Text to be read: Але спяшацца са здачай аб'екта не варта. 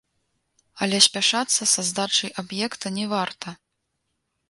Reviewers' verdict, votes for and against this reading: rejected, 1, 2